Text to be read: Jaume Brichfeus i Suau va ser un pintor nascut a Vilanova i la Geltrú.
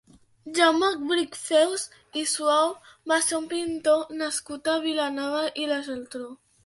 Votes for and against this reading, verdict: 2, 0, accepted